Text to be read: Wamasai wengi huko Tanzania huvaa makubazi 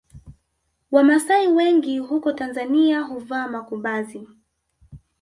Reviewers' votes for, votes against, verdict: 1, 2, rejected